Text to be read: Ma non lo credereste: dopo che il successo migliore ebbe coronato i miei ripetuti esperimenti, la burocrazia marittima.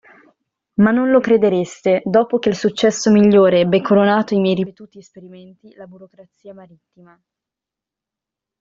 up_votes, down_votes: 0, 2